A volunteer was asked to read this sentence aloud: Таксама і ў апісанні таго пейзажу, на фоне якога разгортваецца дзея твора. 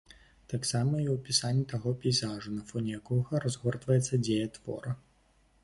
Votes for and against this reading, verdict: 2, 0, accepted